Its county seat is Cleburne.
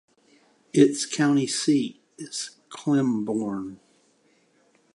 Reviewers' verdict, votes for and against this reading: rejected, 1, 2